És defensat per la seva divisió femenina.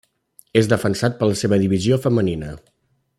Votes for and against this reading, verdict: 3, 0, accepted